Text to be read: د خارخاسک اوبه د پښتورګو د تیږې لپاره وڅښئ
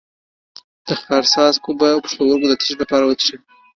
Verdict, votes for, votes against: rejected, 1, 2